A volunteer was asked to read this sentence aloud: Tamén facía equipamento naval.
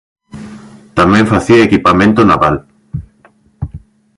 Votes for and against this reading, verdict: 2, 0, accepted